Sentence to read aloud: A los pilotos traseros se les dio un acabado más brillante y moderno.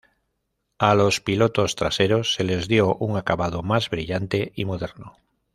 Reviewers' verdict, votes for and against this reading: accepted, 2, 0